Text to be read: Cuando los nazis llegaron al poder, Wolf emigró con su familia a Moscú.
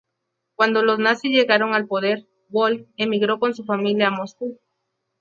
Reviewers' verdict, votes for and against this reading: accepted, 6, 0